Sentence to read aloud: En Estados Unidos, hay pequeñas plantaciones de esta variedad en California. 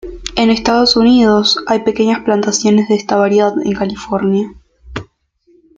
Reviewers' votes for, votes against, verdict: 2, 0, accepted